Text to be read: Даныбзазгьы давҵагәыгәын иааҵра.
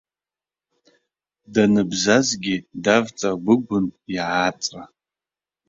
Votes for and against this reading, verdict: 2, 1, accepted